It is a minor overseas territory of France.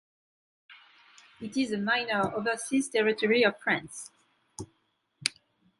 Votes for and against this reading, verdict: 2, 1, accepted